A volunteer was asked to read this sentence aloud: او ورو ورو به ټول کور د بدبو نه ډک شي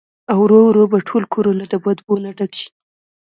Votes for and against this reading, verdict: 2, 0, accepted